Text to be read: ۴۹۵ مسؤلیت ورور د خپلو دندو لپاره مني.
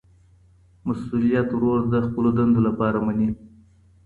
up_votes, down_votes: 0, 2